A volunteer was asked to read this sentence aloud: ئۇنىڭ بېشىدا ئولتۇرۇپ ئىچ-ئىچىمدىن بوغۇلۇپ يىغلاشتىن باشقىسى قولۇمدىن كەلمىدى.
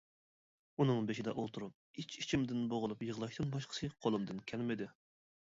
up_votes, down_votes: 2, 0